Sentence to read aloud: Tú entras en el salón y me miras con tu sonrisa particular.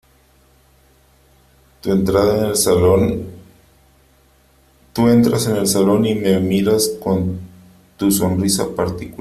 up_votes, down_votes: 0, 3